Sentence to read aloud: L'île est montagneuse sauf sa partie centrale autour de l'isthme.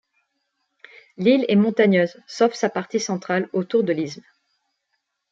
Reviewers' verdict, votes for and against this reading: rejected, 1, 2